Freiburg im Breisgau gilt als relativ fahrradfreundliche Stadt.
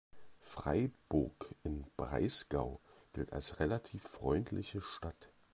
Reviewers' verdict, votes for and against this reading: rejected, 0, 2